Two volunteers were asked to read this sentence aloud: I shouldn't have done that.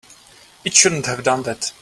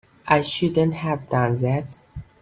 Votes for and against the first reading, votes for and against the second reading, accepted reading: 1, 3, 2, 1, second